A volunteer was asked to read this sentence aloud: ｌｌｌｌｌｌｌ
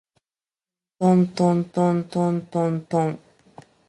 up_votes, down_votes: 2, 1